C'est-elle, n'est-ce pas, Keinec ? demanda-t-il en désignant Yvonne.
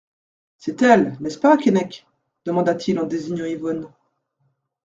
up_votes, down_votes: 2, 1